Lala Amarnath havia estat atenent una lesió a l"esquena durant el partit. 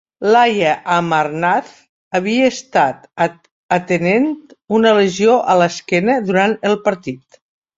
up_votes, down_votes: 0, 2